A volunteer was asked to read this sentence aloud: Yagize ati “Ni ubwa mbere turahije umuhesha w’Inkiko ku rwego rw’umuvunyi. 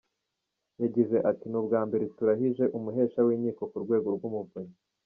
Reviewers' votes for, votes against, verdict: 2, 0, accepted